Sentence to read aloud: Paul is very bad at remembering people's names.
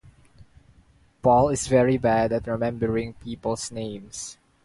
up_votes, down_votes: 2, 0